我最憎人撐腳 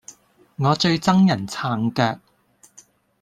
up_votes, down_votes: 2, 0